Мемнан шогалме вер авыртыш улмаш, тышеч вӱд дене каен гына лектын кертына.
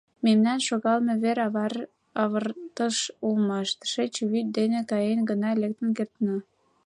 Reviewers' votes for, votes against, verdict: 0, 2, rejected